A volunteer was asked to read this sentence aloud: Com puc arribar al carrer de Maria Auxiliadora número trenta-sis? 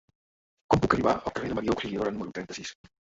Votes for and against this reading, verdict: 1, 3, rejected